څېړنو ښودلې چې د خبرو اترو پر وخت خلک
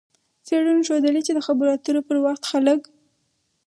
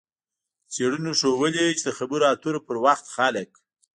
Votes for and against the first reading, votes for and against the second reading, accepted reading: 4, 0, 1, 2, first